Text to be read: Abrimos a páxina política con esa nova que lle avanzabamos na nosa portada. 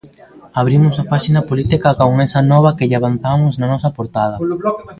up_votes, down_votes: 1, 2